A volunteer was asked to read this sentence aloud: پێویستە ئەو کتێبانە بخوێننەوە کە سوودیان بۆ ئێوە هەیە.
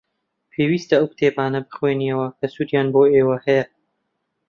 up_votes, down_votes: 0, 2